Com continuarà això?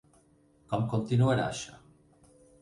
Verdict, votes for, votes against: accepted, 6, 0